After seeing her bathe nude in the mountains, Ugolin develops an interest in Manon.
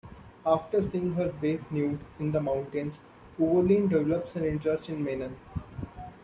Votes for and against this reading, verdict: 1, 2, rejected